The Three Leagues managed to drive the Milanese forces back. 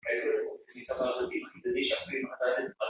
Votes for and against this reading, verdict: 0, 2, rejected